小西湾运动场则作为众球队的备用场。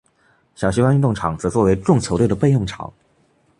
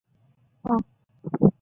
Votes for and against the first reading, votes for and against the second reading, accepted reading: 2, 0, 1, 2, first